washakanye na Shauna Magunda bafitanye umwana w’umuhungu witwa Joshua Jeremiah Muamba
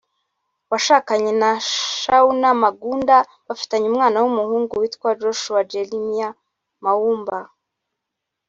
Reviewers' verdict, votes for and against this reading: accepted, 4, 0